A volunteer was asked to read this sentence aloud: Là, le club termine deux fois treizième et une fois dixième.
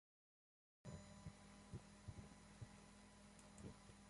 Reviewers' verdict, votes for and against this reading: rejected, 0, 2